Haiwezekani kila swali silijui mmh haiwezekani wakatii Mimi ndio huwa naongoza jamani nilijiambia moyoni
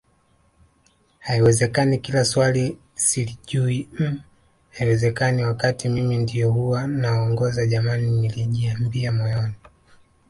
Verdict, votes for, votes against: accepted, 2, 0